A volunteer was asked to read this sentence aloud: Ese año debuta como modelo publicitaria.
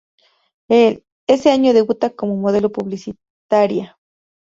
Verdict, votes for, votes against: rejected, 0, 2